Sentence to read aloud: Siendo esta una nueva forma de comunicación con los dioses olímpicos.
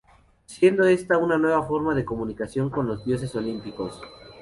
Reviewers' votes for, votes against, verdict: 2, 0, accepted